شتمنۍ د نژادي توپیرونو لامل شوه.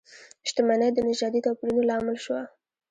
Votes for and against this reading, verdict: 1, 2, rejected